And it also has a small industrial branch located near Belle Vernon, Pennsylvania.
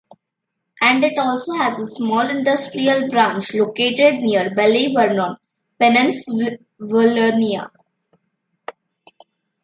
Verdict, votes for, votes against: rejected, 0, 2